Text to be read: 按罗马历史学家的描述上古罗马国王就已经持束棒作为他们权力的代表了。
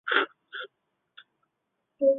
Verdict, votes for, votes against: rejected, 1, 2